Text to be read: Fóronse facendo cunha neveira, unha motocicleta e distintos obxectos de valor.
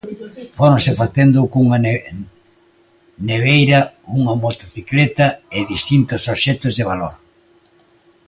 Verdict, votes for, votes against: rejected, 0, 2